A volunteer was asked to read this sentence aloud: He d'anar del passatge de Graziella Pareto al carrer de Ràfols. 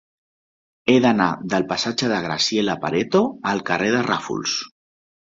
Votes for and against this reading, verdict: 2, 0, accepted